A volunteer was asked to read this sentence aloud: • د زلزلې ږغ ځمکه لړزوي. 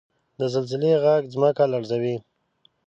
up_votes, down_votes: 2, 0